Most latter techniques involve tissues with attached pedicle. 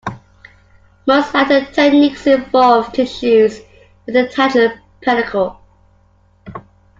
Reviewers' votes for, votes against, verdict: 1, 2, rejected